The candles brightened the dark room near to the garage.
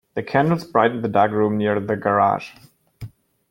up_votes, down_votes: 1, 2